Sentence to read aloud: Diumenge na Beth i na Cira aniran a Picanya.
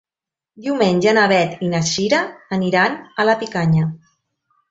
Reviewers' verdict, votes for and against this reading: accepted, 2, 1